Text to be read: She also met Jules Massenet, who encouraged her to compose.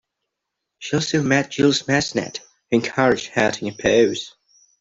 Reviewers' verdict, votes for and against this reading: accepted, 2, 0